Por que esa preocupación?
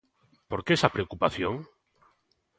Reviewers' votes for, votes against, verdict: 3, 0, accepted